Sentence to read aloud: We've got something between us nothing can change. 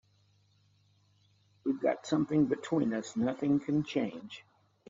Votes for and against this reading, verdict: 3, 0, accepted